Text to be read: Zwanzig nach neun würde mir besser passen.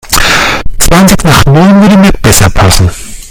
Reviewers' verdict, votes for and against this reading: rejected, 1, 2